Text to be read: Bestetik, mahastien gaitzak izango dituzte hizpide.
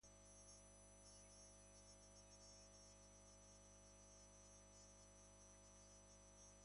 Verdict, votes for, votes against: rejected, 0, 2